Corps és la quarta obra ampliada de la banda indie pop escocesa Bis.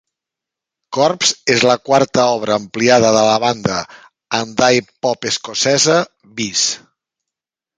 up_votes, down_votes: 1, 2